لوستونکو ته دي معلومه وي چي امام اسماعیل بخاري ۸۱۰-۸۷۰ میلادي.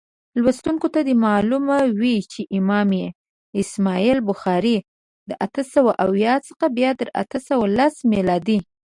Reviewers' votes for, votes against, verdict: 0, 2, rejected